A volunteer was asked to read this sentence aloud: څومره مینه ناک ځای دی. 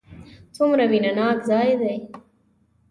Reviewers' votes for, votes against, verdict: 2, 0, accepted